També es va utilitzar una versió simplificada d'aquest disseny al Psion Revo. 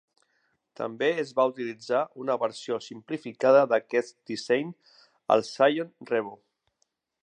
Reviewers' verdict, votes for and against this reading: accepted, 2, 1